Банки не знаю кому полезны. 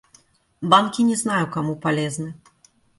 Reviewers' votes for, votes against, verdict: 2, 0, accepted